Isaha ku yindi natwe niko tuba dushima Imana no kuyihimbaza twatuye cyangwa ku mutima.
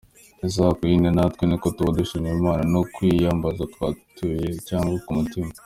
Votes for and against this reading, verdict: 2, 0, accepted